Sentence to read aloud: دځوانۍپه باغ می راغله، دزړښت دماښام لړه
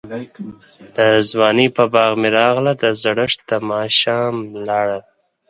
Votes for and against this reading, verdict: 0, 4, rejected